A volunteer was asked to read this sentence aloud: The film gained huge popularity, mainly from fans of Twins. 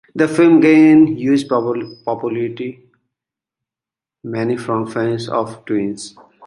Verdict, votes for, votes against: rejected, 0, 2